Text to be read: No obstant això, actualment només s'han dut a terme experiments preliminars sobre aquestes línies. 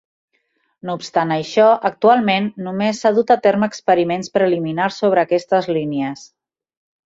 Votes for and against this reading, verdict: 0, 2, rejected